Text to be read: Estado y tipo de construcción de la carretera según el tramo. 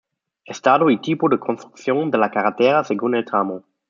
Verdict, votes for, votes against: accepted, 2, 1